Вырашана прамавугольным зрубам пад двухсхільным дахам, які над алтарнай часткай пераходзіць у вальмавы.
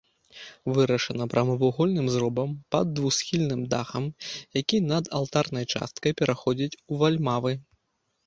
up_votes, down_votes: 0, 2